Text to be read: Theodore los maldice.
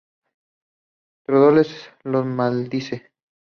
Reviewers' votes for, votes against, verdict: 2, 0, accepted